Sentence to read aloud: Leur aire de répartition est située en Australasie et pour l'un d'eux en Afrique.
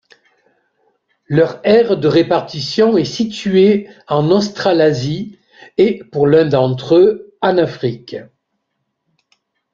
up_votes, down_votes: 0, 2